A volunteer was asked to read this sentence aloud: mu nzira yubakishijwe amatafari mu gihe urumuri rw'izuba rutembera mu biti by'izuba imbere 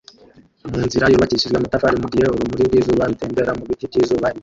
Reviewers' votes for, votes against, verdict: 0, 3, rejected